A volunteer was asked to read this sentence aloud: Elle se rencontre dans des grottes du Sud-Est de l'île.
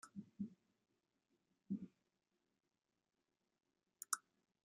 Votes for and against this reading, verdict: 0, 2, rejected